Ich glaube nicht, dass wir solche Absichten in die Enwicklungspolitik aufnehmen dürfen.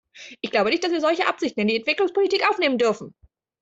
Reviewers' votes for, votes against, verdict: 2, 1, accepted